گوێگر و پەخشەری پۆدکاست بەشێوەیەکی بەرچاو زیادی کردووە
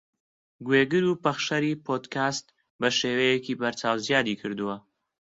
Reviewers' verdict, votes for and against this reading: accepted, 2, 0